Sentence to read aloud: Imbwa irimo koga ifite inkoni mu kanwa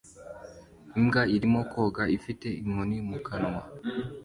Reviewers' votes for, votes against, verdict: 2, 0, accepted